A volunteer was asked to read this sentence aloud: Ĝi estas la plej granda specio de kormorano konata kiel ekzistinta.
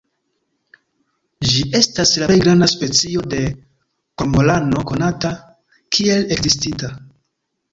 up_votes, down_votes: 1, 2